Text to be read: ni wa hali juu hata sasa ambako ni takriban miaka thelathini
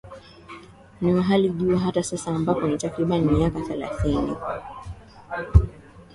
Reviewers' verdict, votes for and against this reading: accepted, 2, 0